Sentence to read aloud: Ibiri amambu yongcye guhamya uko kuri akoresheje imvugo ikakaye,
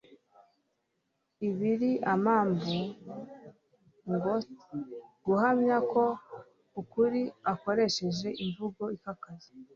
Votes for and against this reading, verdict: 2, 0, accepted